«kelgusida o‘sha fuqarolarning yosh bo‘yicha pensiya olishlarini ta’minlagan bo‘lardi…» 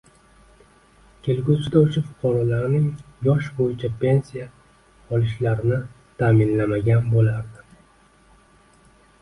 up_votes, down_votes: 1, 2